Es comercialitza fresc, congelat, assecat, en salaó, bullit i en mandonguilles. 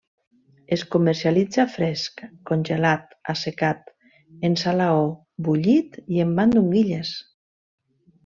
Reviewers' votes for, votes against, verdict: 2, 0, accepted